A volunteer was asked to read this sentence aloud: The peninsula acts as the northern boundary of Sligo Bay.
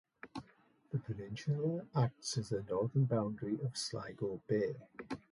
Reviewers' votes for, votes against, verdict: 2, 2, rejected